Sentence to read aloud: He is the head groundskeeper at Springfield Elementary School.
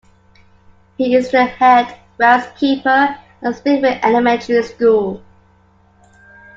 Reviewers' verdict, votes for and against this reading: rejected, 0, 2